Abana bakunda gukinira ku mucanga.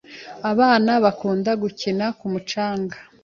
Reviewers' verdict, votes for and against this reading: accepted, 2, 0